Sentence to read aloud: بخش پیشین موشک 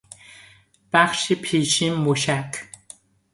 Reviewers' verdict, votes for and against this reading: rejected, 0, 2